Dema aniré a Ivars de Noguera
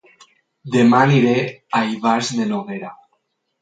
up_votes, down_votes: 8, 0